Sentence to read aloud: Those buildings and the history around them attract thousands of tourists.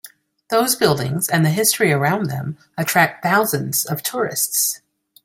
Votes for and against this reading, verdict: 2, 0, accepted